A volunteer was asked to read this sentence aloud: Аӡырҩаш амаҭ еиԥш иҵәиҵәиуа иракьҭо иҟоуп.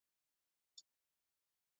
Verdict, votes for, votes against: rejected, 1, 2